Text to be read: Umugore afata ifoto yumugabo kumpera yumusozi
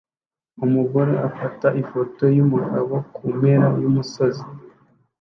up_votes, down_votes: 2, 0